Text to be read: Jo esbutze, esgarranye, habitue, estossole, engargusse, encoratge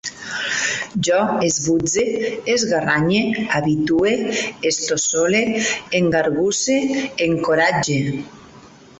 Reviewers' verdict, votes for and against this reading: rejected, 1, 2